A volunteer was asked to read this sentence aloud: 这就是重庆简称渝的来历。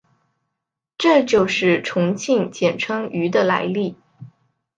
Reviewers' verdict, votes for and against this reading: accepted, 2, 0